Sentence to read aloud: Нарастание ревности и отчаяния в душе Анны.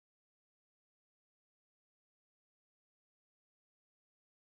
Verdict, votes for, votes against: rejected, 0, 14